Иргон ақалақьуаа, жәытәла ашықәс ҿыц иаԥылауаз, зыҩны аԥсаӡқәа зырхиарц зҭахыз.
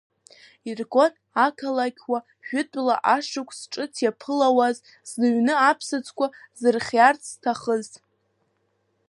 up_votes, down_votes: 0, 2